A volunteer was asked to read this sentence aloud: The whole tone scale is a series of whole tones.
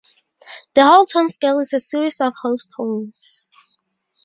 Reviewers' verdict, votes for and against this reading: rejected, 0, 2